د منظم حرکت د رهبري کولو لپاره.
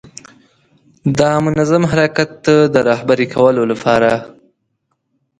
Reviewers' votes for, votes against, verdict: 2, 0, accepted